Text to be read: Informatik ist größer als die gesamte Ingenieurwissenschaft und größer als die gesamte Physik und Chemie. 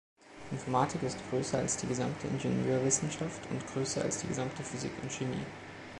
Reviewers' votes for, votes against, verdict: 2, 0, accepted